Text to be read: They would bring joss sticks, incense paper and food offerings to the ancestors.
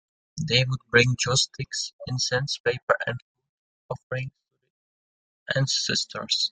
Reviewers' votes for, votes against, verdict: 0, 2, rejected